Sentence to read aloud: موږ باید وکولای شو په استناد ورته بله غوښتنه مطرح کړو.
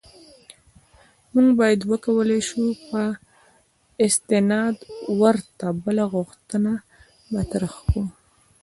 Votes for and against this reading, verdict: 2, 0, accepted